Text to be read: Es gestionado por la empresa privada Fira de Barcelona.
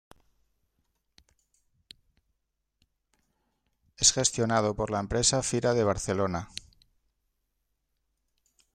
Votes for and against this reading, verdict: 1, 2, rejected